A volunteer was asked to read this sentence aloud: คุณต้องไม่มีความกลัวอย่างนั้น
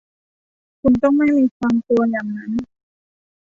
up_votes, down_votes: 1, 2